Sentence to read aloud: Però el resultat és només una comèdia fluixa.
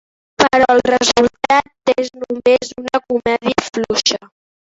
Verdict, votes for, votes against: rejected, 0, 3